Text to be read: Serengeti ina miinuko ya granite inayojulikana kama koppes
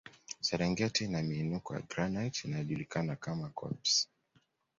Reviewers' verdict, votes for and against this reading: accepted, 2, 0